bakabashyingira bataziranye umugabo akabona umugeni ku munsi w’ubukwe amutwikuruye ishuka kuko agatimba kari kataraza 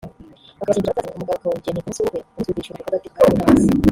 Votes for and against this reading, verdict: 0, 3, rejected